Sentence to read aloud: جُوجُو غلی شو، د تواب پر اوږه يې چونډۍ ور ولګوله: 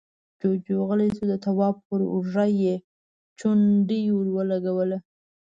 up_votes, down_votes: 2, 0